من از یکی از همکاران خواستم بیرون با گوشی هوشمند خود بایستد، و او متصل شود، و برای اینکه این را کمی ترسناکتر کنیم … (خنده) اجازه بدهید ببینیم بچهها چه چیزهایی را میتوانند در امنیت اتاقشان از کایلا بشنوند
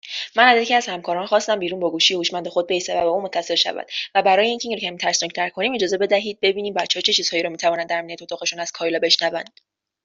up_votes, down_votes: 2, 0